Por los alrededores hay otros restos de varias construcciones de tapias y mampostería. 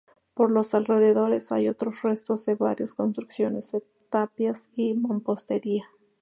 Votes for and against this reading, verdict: 2, 0, accepted